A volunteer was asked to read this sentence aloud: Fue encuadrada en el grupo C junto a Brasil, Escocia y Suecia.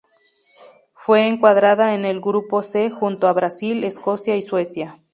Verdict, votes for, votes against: accepted, 2, 0